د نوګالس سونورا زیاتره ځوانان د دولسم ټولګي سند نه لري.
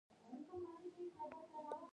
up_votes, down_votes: 1, 2